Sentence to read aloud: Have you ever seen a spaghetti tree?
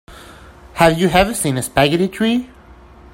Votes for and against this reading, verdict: 1, 2, rejected